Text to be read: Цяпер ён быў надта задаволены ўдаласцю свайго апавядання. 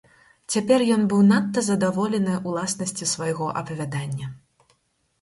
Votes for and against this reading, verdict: 0, 4, rejected